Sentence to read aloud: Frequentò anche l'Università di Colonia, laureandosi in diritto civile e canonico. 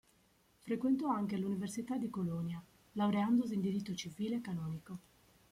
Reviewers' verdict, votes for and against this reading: accepted, 2, 0